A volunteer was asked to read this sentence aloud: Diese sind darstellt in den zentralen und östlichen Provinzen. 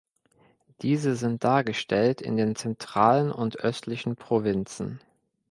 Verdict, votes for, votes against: rejected, 1, 2